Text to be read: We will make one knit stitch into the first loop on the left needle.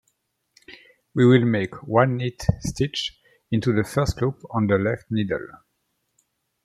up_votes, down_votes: 2, 0